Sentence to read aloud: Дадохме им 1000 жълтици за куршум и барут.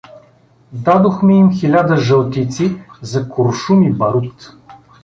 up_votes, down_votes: 0, 2